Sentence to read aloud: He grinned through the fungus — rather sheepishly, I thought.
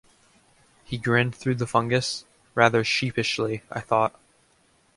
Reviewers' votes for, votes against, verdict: 2, 0, accepted